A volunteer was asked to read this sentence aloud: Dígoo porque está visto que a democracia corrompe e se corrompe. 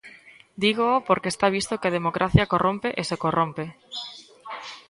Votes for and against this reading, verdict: 2, 0, accepted